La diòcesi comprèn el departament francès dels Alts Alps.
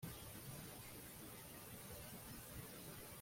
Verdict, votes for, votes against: rejected, 0, 2